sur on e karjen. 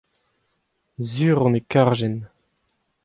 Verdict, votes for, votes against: accepted, 2, 0